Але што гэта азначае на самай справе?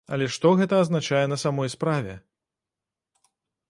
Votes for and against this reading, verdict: 0, 2, rejected